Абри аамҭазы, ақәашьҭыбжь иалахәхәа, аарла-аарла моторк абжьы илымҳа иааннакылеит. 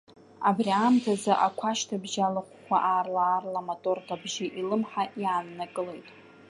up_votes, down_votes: 0, 2